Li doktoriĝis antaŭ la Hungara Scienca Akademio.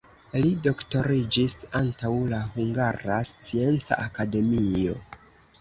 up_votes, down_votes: 1, 2